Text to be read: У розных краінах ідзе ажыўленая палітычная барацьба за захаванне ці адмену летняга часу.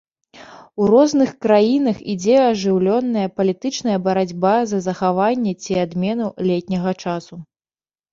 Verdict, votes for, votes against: rejected, 1, 2